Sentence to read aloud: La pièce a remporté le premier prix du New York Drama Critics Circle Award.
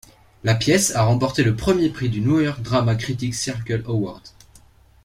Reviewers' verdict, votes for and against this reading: accepted, 2, 0